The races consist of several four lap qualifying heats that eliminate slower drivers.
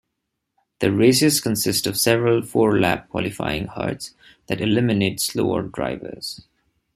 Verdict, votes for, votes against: rejected, 0, 2